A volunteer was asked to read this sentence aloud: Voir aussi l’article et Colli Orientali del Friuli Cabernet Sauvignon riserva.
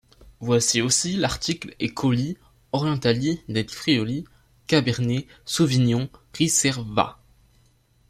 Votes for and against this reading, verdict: 1, 2, rejected